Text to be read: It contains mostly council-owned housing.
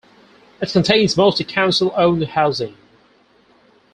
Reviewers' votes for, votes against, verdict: 4, 0, accepted